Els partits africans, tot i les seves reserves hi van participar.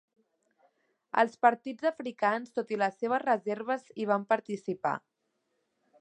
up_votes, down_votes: 2, 0